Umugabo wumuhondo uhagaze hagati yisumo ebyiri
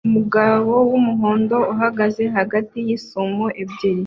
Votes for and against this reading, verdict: 2, 0, accepted